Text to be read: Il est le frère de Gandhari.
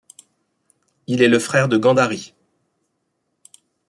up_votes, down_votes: 2, 0